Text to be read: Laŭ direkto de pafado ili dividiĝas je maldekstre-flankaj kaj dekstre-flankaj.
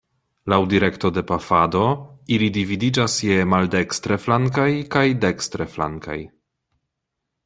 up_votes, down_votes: 2, 0